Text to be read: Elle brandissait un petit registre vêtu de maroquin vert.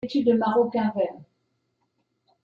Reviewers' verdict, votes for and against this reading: rejected, 0, 2